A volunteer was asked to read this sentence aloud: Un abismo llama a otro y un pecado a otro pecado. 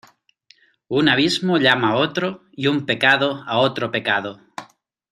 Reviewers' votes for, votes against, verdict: 2, 0, accepted